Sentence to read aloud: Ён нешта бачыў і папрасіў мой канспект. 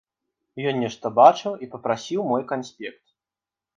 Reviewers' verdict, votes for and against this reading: accepted, 2, 0